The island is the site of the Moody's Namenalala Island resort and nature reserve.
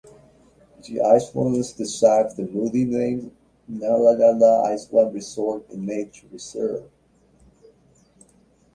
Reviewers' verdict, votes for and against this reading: rejected, 0, 2